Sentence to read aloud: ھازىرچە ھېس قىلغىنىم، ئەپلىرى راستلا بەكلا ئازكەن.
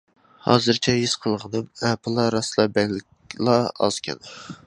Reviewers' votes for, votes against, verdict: 0, 2, rejected